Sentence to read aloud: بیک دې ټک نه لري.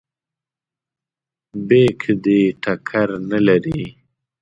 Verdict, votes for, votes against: rejected, 0, 2